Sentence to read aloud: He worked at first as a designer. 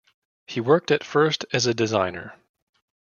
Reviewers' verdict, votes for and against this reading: accepted, 2, 0